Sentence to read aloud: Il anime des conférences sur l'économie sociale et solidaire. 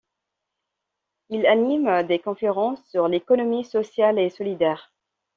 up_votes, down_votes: 2, 0